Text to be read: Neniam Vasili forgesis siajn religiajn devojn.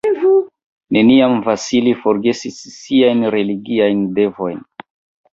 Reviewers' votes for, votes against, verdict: 1, 2, rejected